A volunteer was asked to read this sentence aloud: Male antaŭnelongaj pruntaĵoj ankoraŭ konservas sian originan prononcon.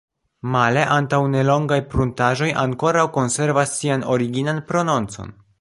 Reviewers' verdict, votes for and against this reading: rejected, 0, 2